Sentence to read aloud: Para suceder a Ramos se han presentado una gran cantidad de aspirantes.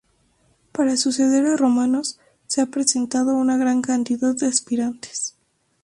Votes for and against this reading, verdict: 0, 4, rejected